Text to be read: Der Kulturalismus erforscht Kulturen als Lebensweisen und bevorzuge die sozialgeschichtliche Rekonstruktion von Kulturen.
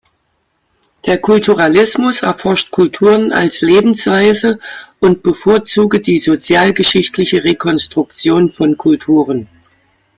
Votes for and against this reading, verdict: 0, 2, rejected